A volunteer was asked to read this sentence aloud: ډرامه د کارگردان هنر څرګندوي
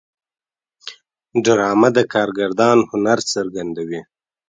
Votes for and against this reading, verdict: 0, 2, rejected